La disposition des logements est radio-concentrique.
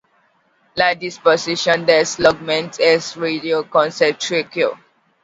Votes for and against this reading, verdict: 1, 2, rejected